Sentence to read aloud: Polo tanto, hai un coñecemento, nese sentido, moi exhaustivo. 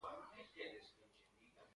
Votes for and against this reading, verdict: 0, 2, rejected